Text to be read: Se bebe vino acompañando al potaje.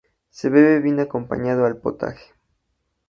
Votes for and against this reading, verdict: 0, 2, rejected